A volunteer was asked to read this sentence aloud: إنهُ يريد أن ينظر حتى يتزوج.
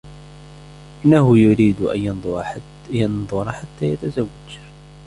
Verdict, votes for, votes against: rejected, 0, 2